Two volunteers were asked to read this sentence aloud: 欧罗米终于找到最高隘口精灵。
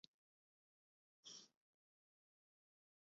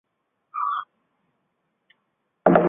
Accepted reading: second